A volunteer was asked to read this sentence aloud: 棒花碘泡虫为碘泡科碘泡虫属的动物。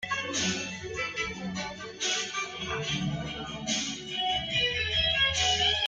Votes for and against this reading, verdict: 0, 2, rejected